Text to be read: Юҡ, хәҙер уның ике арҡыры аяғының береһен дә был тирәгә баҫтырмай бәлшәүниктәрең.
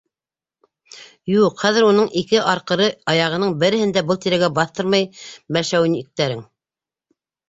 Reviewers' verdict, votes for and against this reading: accepted, 2, 0